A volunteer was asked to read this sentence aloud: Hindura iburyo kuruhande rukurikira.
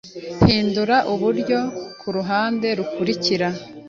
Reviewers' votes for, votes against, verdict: 1, 2, rejected